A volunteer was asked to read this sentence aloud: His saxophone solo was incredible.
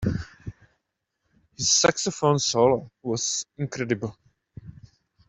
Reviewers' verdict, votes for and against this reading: rejected, 1, 2